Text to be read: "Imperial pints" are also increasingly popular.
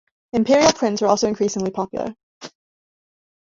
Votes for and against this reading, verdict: 1, 2, rejected